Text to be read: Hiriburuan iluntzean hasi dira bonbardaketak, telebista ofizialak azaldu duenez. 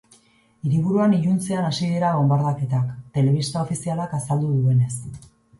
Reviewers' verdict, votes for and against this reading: accepted, 4, 0